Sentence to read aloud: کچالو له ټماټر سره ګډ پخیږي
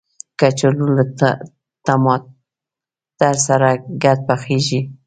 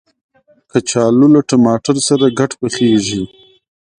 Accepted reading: second